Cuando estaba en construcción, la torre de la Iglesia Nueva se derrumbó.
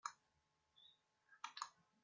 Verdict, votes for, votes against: rejected, 0, 2